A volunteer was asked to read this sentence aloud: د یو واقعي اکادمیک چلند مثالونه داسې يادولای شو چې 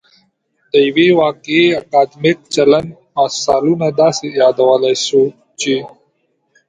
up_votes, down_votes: 2, 0